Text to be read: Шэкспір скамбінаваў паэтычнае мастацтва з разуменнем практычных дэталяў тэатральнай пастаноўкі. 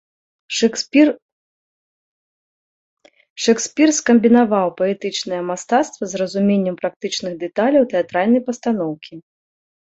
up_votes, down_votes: 0, 2